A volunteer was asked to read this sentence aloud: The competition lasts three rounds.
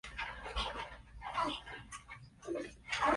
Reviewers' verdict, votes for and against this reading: rejected, 0, 3